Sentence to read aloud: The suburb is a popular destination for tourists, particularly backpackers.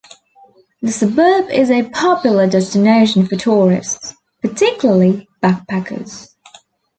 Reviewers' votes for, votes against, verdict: 2, 0, accepted